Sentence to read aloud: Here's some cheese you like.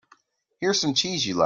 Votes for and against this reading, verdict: 1, 2, rejected